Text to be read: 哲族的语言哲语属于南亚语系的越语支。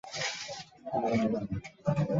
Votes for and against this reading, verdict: 1, 4, rejected